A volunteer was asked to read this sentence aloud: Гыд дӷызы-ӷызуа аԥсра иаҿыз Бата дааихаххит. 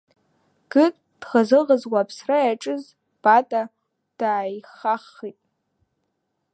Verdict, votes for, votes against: accepted, 2, 1